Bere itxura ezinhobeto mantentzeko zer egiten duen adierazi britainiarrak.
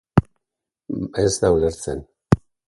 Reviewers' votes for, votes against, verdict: 0, 2, rejected